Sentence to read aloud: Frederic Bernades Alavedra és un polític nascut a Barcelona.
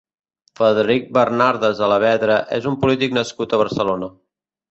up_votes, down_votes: 0, 2